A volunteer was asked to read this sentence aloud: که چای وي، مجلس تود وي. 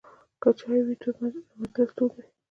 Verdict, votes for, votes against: rejected, 0, 2